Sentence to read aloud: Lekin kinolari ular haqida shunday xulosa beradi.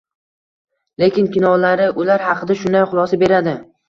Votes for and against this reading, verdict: 2, 0, accepted